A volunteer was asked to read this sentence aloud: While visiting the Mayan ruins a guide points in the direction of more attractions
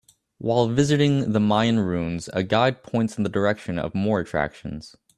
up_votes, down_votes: 2, 0